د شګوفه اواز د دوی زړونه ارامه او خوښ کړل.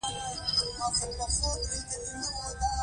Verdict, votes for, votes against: rejected, 0, 2